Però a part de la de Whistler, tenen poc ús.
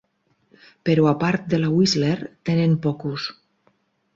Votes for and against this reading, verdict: 4, 2, accepted